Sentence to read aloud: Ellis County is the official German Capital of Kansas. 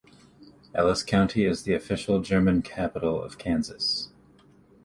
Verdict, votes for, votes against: accepted, 2, 1